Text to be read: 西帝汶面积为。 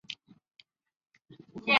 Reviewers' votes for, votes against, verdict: 0, 3, rejected